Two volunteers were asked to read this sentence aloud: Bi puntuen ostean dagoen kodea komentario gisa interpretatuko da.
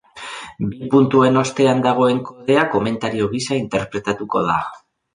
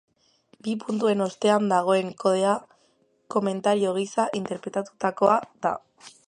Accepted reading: first